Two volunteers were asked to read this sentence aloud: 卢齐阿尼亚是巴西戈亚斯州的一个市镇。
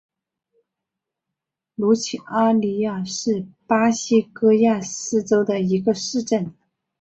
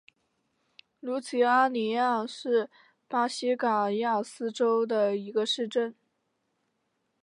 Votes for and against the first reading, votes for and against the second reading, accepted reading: 3, 0, 0, 2, first